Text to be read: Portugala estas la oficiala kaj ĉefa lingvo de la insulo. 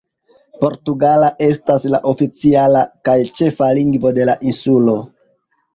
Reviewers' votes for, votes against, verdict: 2, 1, accepted